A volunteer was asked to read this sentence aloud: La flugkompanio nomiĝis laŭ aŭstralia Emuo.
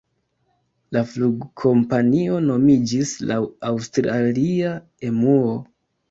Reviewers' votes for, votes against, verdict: 1, 2, rejected